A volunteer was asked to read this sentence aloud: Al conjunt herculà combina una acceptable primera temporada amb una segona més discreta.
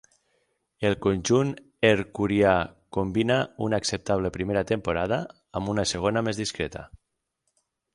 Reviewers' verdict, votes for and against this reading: rejected, 0, 6